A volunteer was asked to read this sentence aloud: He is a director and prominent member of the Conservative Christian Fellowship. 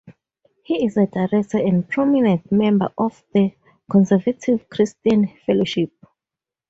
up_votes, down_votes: 4, 0